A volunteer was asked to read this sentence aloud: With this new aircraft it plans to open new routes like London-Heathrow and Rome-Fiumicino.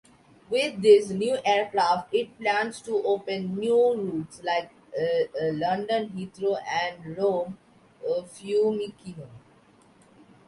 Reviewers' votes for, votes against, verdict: 1, 2, rejected